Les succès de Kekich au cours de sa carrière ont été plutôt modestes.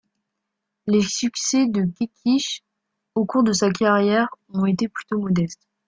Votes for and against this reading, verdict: 1, 2, rejected